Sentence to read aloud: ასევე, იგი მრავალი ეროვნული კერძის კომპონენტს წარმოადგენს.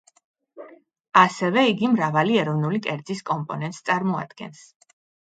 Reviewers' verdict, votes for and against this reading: accepted, 2, 0